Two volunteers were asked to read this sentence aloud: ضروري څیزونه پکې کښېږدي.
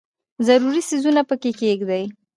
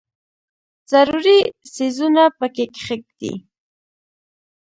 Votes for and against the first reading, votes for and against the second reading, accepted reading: 2, 0, 1, 2, first